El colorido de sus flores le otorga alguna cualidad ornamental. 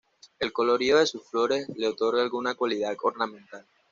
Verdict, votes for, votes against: accepted, 2, 0